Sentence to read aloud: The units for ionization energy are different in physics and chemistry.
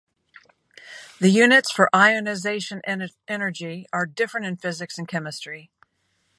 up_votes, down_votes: 0, 2